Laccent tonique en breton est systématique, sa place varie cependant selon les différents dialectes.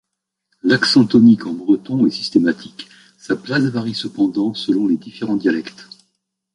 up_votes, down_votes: 2, 0